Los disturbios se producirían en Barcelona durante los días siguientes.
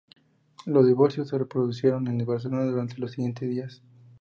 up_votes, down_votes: 0, 2